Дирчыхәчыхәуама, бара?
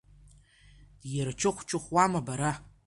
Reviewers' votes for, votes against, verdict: 2, 1, accepted